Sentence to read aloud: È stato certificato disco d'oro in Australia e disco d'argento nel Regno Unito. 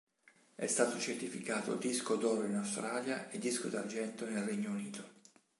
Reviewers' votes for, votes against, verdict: 2, 0, accepted